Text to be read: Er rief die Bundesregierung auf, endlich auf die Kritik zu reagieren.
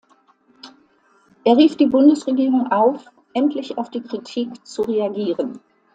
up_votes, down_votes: 2, 0